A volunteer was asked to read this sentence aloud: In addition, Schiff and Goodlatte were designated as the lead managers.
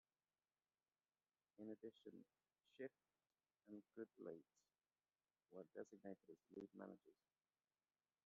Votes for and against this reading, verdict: 0, 2, rejected